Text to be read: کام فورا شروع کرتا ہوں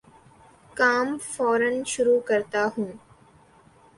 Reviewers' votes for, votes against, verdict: 2, 0, accepted